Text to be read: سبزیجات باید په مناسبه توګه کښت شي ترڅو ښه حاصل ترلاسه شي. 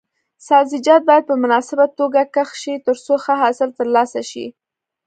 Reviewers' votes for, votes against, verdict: 2, 0, accepted